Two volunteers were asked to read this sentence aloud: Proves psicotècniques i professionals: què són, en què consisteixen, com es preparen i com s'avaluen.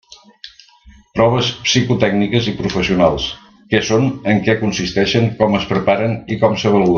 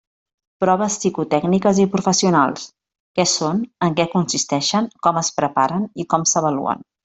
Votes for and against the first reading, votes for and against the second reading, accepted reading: 0, 2, 3, 0, second